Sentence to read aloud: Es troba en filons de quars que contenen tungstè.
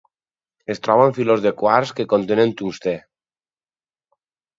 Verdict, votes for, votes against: rejected, 2, 2